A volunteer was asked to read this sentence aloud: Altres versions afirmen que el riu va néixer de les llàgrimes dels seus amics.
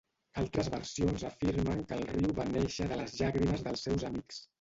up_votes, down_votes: 1, 2